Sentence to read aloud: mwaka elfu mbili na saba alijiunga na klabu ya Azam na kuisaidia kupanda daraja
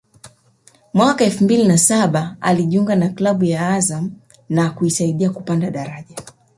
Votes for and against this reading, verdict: 2, 0, accepted